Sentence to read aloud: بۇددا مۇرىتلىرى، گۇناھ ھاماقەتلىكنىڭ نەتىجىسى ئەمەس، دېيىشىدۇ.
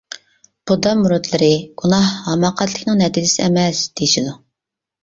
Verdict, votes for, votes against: accepted, 2, 0